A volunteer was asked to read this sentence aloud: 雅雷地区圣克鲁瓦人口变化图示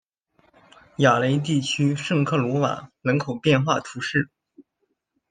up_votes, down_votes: 2, 1